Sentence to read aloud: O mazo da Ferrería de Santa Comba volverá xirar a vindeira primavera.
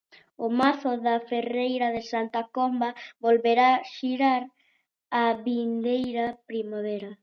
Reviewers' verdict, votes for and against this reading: rejected, 0, 2